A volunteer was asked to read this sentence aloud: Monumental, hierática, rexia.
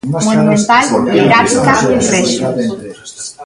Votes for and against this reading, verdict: 0, 2, rejected